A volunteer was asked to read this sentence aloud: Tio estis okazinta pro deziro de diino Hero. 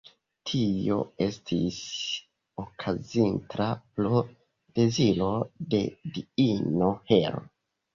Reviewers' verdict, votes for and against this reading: rejected, 0, 2